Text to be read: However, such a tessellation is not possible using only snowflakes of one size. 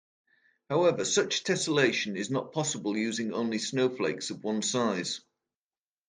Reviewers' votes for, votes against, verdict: 0, 2, rejected